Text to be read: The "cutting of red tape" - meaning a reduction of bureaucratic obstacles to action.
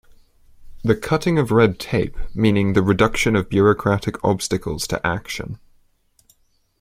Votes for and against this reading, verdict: 0, 2, rejected